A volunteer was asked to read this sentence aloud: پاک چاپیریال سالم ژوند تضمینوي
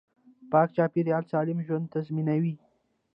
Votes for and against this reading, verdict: 1, 2, rejected